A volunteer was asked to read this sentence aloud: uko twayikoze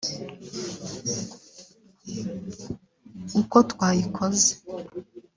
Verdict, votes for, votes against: rejected, 1, 3